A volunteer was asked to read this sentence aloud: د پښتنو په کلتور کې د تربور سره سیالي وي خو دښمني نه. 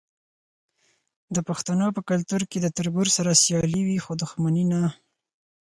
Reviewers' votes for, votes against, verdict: 4, 0, accepted